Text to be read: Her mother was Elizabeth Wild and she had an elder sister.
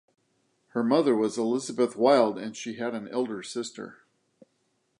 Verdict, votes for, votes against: accepted, 2, 0